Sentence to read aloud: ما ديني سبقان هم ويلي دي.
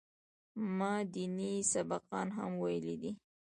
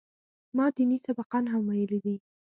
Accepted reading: first